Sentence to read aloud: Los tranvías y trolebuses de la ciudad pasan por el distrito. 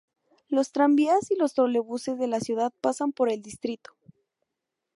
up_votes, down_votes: 0, 2